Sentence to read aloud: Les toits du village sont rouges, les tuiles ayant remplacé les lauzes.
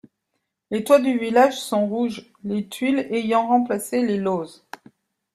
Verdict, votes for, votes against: rejected, 1, 2